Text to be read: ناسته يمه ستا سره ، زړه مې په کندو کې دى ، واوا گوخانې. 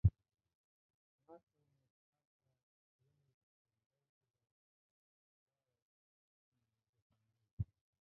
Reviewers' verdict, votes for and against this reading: rejected, 0, 2